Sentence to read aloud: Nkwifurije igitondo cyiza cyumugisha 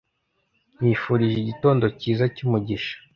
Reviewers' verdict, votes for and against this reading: accepted, 2, 0